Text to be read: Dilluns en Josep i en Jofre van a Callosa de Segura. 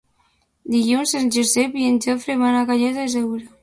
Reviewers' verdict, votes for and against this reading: rejected, 0, 2